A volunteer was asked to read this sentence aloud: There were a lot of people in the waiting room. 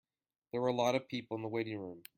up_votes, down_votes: 2, 0